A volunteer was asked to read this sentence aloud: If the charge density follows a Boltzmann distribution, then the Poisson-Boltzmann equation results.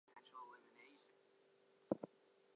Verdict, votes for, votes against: rejected, 0, 2